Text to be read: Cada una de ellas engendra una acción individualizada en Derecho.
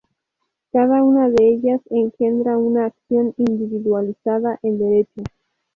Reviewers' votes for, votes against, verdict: 2, 0, accepted